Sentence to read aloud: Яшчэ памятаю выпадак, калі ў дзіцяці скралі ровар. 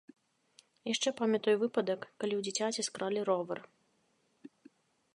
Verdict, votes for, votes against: accepted, 2, 0